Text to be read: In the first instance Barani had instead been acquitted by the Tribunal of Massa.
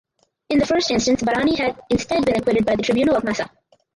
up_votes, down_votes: 2, 2